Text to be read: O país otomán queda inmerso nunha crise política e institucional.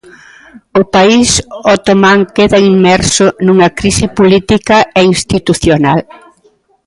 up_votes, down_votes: 0, 2